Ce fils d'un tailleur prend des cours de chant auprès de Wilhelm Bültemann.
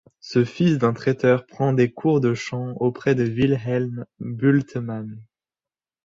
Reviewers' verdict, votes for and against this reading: rejected, 1, 2